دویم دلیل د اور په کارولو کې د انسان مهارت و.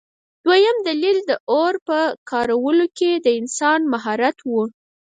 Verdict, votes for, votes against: rejected, 2, 4